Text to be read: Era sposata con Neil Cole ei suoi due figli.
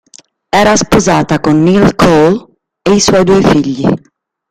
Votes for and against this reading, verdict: 1, 2, rejected